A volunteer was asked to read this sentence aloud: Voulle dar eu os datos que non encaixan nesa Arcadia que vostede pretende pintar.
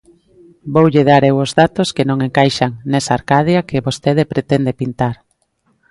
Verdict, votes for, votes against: accepted, 3, 0